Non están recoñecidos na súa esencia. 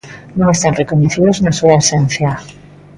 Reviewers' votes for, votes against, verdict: 2, 0, accepted